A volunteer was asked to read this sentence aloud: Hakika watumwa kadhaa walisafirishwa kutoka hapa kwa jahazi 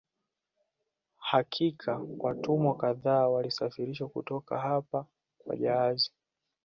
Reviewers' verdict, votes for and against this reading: rejected, 1, 2